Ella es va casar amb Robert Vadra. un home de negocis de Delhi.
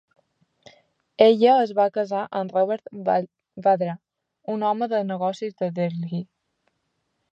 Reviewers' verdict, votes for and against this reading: rejected, 0, 3